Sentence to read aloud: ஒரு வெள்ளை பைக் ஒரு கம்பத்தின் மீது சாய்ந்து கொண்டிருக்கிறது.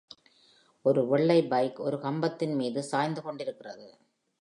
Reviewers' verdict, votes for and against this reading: accepted, 2, 0